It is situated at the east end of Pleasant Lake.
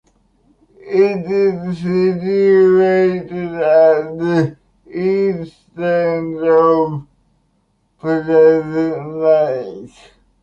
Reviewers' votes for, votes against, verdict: 0, 2, rejected